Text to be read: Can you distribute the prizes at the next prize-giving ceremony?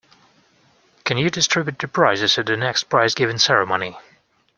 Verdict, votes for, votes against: accepted, 2, 0